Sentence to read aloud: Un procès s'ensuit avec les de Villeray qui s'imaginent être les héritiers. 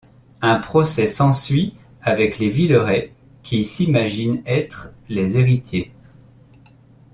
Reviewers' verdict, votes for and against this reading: rejected, 1, 2